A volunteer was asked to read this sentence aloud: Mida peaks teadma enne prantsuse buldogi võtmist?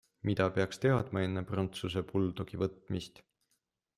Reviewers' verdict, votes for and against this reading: accepted, 2, 0